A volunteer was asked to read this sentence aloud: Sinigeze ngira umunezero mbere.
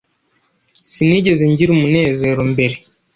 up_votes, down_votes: 2, 0